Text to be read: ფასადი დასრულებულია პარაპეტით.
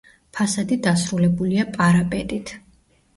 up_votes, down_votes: 1, 2